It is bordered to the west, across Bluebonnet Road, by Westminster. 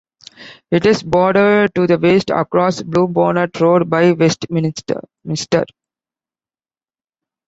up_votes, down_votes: 2, 0